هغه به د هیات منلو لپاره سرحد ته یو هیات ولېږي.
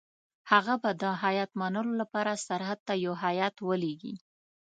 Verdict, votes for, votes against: accepted, 2, 0